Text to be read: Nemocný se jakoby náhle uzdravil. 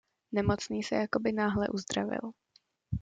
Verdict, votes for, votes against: accepted, 2, 0